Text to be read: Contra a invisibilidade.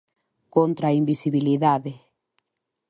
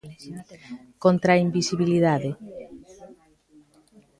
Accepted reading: first